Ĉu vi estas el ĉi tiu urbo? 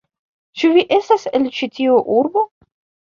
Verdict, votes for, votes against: rejected, 0, 2